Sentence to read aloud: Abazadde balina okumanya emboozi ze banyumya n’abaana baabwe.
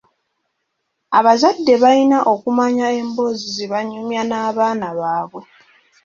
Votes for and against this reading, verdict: 3, 1, accepted